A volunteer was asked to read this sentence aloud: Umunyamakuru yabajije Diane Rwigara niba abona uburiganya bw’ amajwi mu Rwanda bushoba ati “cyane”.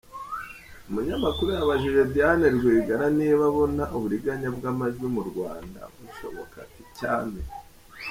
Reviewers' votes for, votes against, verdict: 2, 1, accepted